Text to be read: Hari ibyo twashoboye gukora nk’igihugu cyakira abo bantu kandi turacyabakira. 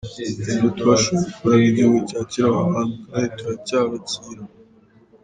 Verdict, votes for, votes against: rejected, 0, 2